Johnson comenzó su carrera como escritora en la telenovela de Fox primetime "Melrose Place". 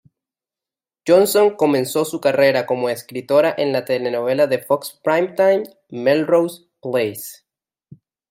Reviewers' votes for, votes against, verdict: 2, 0, accepted